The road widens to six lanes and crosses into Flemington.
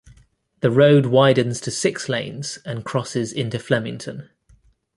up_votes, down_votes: 2, 0